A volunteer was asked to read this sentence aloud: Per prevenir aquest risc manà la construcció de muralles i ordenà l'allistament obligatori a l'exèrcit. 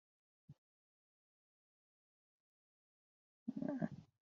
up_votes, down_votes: 0, 2